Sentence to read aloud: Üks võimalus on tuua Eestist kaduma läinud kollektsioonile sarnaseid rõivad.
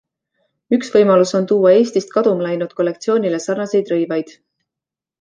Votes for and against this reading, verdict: 2, 0, accepted